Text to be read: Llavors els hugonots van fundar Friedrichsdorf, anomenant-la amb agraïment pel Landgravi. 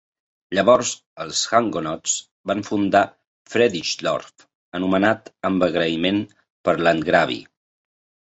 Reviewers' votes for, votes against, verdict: 0, 2, rejected